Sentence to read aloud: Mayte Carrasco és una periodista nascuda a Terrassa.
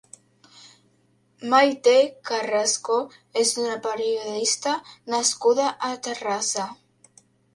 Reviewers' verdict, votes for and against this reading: accepted, 2, 0